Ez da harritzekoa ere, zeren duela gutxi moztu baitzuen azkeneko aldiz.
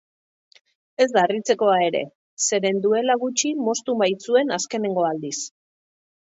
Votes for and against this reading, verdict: 2, 0, accepted